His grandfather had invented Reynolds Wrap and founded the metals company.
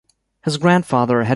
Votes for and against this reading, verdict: 0, 2, rejected